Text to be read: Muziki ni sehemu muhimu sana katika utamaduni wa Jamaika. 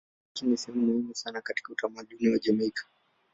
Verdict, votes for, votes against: rejected, 0, 2